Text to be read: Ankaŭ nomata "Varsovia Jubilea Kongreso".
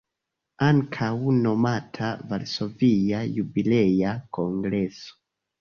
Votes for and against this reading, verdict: 2, 0, accepted